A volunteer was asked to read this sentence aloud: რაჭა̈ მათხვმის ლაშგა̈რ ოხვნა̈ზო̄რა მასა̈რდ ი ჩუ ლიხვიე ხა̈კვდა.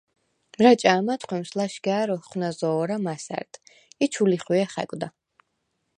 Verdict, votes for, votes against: accepted, 4, 0